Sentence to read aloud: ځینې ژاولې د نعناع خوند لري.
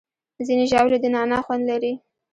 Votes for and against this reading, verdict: 1, 2, rejected